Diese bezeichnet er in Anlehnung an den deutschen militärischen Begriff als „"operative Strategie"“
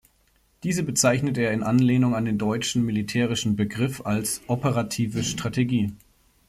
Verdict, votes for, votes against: accepted, 2, 0